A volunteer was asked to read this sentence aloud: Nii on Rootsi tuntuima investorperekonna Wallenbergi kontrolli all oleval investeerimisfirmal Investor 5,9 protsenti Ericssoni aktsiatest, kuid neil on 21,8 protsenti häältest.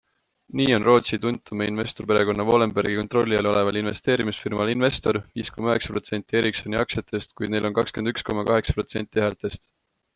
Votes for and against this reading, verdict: 0, 2, rejected